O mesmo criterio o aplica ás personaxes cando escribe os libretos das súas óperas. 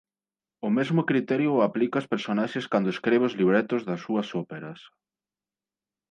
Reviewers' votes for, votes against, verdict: 0, 2, rejected